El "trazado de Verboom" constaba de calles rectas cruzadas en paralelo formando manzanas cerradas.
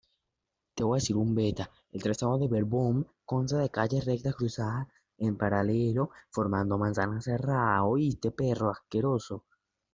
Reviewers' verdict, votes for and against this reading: rejected, 0, 2